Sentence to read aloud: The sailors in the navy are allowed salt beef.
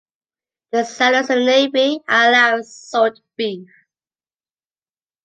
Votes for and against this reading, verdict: 0, 2, rejected